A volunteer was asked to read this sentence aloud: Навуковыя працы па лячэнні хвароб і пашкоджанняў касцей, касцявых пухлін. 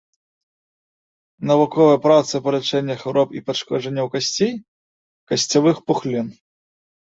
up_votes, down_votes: 2, 0